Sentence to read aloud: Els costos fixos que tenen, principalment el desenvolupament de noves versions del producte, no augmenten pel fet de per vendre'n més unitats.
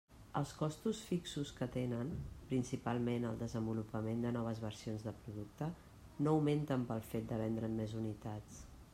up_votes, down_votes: 1, 2